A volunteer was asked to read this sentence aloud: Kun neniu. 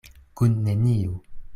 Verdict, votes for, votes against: accepted, 2, 0